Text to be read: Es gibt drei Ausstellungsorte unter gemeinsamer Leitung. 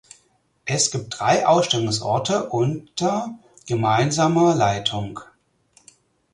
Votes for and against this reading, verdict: 4, 0, accepted